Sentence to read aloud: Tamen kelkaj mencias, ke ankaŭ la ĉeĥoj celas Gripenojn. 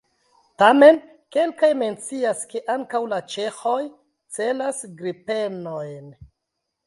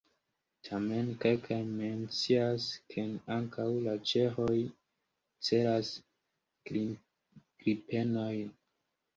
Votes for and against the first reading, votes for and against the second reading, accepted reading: 2, 0, 0, 2, first